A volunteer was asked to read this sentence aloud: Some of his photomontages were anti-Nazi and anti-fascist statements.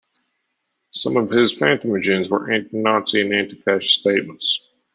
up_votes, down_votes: 0, 2